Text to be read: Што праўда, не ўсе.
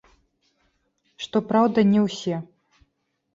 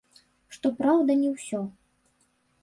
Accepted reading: first